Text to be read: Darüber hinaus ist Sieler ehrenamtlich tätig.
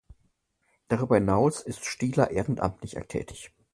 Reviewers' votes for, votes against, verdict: 0, 2, rejected